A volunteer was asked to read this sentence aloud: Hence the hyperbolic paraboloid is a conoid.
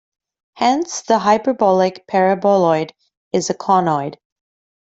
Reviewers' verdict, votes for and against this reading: accepted, 2, 0